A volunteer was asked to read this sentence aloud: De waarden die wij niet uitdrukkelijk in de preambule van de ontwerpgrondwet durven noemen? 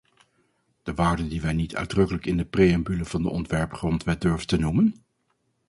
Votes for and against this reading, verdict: 0, 4, rejected